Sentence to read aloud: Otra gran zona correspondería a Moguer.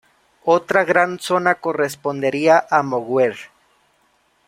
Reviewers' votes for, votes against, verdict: 0, 2, rejected